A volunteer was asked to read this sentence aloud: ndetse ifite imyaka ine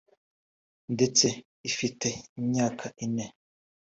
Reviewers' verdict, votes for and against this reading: accepted, 2, 0